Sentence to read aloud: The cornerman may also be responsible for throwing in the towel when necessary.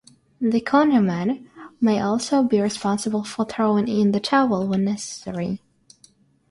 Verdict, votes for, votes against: accepted, 6, 0